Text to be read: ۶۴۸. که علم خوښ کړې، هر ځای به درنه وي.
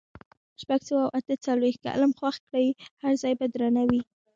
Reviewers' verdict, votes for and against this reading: rejected, 0, 2